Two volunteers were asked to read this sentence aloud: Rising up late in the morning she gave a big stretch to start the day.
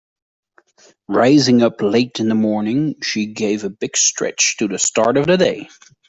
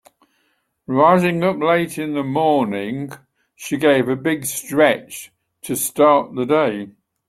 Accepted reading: second